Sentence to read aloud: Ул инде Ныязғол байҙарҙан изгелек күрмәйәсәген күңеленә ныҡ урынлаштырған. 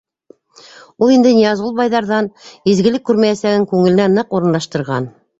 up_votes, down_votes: 2, 0